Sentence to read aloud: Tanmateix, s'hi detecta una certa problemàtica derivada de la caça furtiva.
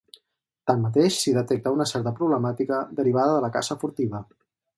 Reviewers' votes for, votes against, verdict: 6, 0, accepted